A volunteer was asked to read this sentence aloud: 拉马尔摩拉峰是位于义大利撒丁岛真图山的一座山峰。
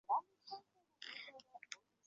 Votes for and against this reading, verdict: 1, 2, rejected